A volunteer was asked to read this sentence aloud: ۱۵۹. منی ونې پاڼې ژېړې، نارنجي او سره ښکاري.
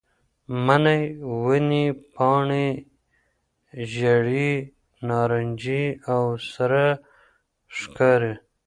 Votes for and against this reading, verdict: 0, 2, rejected